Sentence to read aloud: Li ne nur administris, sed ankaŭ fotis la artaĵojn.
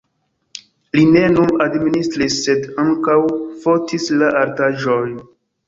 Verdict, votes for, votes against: accepted, 2, 0